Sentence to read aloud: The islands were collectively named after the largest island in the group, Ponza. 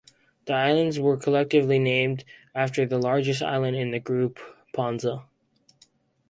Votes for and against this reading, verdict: 2, 0, accepted